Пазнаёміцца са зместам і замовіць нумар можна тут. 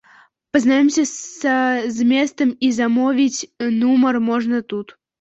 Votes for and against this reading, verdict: 0, 2, rejected